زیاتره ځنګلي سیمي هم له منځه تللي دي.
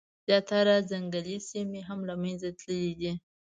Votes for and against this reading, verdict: 2, 0, accepted